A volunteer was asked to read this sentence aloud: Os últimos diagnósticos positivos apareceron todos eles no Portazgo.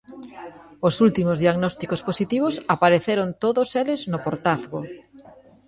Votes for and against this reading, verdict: 1, 2, rejected